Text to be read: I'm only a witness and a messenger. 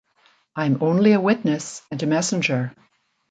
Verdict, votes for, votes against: accepted, 2, 0